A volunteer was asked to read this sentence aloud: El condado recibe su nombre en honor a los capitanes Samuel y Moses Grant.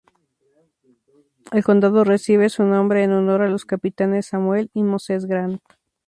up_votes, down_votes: 6, 0